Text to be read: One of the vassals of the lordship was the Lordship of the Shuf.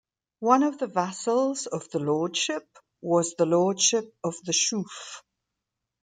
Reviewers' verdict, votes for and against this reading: accepted, 2, 0